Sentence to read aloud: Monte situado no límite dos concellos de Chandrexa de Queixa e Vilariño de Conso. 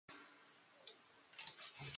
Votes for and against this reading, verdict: 0, 4, rejected